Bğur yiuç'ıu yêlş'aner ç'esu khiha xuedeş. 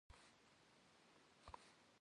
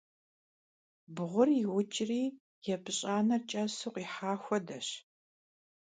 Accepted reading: first